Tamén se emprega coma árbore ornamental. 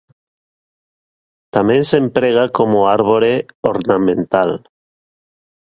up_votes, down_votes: 0, 2